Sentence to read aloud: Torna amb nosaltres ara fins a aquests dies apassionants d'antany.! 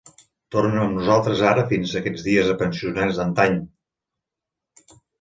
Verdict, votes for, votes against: rejected, 0, 2